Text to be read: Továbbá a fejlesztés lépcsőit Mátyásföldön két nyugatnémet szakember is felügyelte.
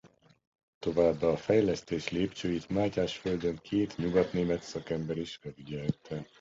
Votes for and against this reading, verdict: 0, 2, rejected